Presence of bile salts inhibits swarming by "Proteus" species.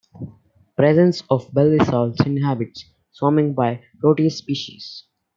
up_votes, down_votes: 1, 2